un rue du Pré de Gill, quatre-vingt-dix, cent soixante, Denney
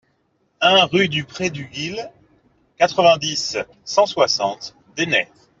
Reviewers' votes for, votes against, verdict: 0, 2, rejected